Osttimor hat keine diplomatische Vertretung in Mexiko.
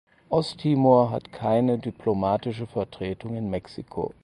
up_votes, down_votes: 4, 0